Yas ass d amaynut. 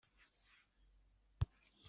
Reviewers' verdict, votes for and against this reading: rejected, 1, 2